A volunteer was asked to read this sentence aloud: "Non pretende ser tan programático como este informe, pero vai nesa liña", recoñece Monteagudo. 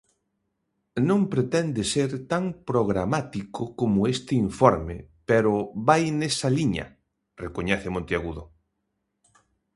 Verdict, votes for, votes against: accepted, 2, 0